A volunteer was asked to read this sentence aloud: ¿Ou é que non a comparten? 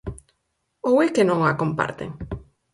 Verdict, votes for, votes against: accepted, 4, 0